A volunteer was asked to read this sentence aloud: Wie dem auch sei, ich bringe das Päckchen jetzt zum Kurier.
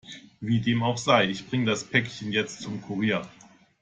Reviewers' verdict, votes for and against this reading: accepted, 2, 1